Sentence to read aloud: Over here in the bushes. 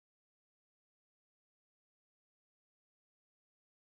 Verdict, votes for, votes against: rejected, 0, 3